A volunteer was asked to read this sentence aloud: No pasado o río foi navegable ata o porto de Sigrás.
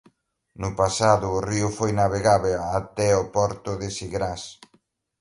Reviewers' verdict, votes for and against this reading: rejected, 1, 2